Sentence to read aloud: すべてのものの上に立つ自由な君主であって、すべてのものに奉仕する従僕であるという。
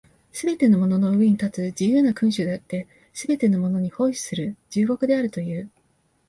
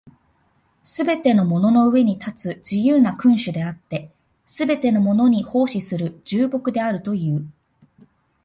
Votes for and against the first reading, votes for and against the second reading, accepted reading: 0, 2, 2, 0, second